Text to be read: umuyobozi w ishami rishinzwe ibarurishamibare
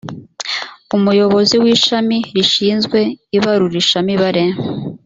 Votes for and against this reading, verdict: 2, 0, accepted